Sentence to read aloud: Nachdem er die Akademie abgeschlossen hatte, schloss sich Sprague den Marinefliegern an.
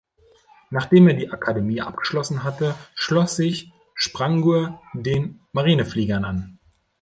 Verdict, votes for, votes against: rejected, 1, 2